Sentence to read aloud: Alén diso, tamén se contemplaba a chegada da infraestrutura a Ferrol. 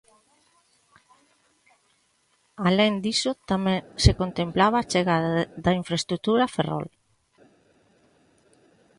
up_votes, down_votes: 0, 2